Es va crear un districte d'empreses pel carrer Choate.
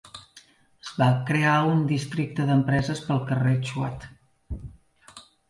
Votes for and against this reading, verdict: 0, 2, rejected